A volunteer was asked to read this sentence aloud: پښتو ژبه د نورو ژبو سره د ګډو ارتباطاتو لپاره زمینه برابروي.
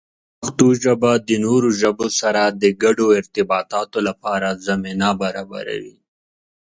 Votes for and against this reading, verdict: 2, 0, accepted